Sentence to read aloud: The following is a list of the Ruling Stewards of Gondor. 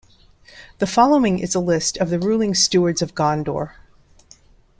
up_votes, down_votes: 2, 0